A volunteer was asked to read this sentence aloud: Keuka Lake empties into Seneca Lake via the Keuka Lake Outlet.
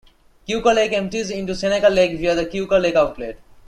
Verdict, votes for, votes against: accepted, 2, 0